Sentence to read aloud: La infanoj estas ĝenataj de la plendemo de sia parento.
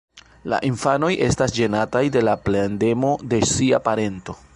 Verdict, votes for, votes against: rejected, 0, 2